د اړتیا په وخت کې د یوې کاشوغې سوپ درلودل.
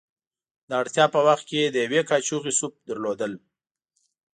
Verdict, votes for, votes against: accepted, 2, 0